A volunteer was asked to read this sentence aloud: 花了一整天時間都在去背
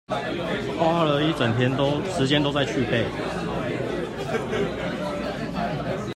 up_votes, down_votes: 0, 2